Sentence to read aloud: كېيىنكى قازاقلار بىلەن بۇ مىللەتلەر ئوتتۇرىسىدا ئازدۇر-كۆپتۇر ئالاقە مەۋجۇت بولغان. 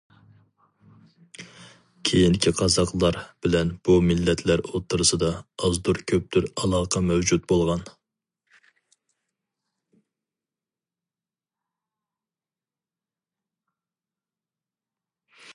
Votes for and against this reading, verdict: 4, 0, accepted